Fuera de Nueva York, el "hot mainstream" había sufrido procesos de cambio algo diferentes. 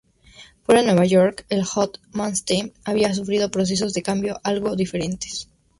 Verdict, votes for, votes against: accepted, 2, 0